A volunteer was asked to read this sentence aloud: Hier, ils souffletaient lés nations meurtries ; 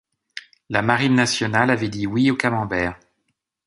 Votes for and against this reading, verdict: 0, 2, rejected